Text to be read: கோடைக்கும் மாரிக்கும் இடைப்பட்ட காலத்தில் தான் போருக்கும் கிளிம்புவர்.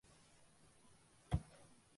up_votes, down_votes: 0, 2